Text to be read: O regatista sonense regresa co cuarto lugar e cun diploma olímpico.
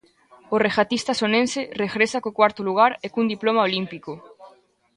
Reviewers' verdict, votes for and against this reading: accepted, 2, 1